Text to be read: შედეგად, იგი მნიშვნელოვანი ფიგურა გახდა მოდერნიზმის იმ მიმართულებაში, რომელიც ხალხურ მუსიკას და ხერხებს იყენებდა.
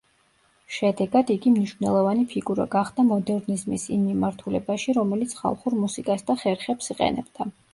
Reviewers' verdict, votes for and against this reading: accepted, 2, 0